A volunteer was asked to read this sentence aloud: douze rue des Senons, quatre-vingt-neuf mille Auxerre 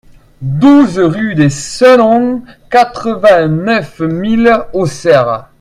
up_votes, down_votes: 2, 0